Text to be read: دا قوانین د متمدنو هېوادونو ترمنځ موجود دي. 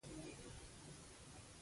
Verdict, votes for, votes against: rejected, 0, 2